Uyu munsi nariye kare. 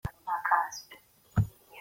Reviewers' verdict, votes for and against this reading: rejected, 0, 3